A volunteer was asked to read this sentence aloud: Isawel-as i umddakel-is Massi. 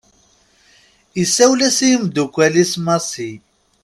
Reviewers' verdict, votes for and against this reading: rejected, 1, 2